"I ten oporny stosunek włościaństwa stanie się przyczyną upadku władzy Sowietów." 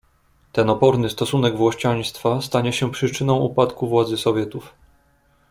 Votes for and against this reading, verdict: 1, 2, rejected